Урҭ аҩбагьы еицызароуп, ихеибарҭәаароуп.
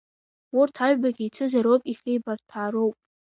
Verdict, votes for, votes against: accepted, 2, 1